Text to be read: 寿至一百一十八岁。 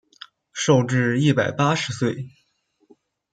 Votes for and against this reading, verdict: 1, 2, rejected